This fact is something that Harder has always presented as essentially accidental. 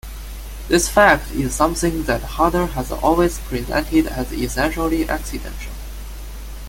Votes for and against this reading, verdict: 1, 2, rejected